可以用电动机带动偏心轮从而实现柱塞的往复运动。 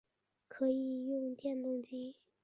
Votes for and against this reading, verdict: 0, 4, rejected